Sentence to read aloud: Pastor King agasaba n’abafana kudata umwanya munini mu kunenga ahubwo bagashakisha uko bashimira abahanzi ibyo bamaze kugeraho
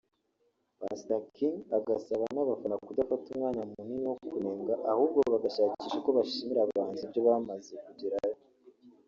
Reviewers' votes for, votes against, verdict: 2, 0, accepted